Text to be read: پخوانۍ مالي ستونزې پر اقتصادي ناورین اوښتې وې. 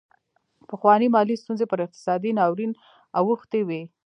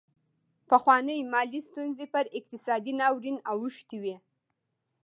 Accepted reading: second